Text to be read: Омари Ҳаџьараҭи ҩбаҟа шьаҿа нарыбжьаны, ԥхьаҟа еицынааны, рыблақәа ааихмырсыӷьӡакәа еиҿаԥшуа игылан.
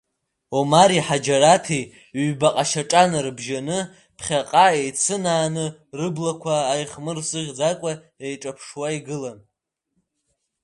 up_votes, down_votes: 1, 2